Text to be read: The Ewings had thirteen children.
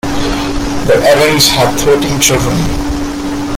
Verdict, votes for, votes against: accepted, 2, 1